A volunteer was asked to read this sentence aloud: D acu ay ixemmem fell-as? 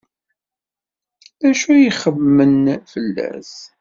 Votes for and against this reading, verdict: 2, 0, accepted